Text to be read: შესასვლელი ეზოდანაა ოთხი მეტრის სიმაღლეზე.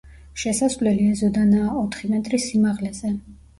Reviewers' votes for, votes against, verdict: 2, 1, accepted